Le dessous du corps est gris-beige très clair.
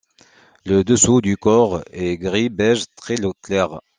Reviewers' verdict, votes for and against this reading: rejected, 0, 2